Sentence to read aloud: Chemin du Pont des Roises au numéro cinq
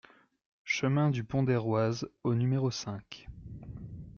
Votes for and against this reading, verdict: 2, 0, accepted